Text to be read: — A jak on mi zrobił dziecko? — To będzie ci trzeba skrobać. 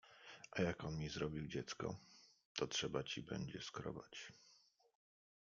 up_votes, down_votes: 0, 2